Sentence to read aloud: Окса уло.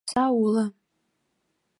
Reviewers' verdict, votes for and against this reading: accepted, 2, 1